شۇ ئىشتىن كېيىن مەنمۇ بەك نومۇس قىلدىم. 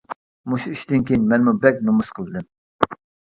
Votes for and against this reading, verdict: 0, 2, rejected